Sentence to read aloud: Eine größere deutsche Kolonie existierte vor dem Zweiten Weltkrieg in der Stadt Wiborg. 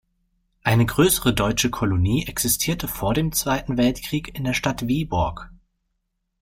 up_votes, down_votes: 2, 0